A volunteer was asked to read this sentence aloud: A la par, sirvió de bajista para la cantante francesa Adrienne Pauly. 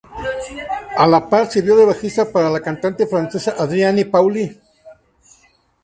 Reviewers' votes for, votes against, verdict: 2, 0, accepted